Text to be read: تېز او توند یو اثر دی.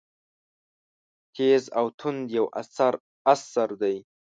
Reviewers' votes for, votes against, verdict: 0, 2, rejected